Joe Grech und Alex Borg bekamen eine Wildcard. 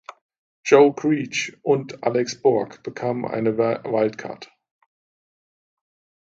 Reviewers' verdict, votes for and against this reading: rejected, 1, 2